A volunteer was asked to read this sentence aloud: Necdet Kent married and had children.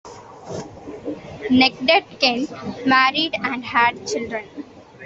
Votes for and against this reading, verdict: 2, 1, accepted